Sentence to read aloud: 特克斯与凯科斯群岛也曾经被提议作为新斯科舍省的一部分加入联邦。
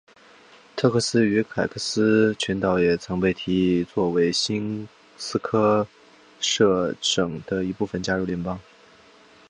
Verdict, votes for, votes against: accepted, 5, 1